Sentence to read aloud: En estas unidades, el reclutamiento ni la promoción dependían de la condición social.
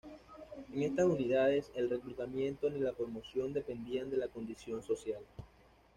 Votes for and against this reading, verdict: 2, 0, accepted